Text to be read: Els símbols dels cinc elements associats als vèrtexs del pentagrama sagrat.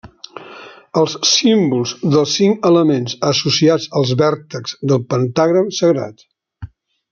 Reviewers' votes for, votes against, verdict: 1, 2, rejected